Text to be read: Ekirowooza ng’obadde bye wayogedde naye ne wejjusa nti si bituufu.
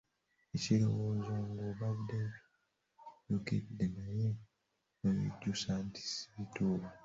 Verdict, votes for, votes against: rejected, 0, 2